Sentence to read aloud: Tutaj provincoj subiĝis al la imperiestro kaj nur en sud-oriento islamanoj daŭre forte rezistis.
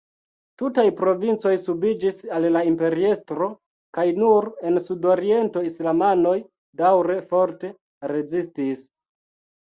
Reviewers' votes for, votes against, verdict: 2, 1, accepted